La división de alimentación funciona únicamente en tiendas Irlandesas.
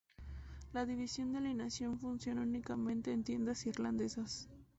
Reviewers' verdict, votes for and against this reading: accepted, 2, 0